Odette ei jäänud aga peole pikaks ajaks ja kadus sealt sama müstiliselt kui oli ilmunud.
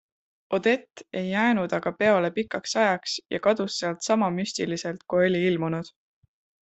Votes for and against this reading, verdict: 2, 0, accepted